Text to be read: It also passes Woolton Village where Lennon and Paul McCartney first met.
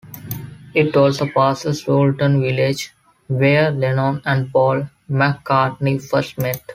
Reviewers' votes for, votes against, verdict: 2, 0, accepted